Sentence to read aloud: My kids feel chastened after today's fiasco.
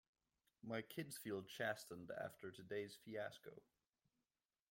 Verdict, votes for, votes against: accepted, 2, 0